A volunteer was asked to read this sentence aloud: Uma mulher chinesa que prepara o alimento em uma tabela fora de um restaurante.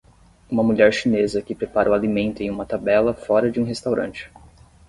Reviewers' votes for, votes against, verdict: 10, 0, accepted